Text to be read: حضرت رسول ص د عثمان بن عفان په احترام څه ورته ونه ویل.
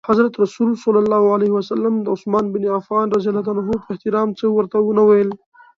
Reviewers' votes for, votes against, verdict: 1, 2, rejected